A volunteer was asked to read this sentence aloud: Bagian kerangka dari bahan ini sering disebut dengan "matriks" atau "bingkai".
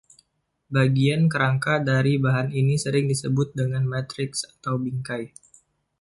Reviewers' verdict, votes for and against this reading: accepted, 2, 0